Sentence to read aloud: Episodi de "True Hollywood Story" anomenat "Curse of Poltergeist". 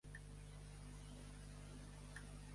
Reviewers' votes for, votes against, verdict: 0, 2, rejected